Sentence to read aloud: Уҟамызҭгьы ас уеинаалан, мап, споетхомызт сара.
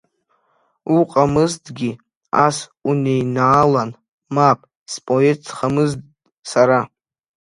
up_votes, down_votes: 0, 2